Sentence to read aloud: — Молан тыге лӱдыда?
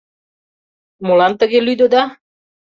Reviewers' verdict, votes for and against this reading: accepted, 2, 0